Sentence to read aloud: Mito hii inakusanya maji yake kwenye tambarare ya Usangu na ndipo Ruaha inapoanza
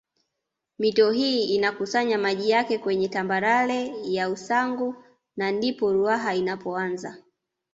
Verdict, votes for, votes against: accepted, 2, 0